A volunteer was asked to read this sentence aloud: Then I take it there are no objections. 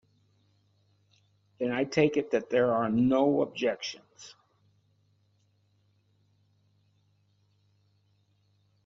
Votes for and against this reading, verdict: 1, 3, rejected